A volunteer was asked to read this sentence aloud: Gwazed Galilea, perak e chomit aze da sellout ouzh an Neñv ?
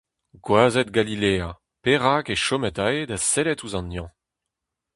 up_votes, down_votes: 0, 2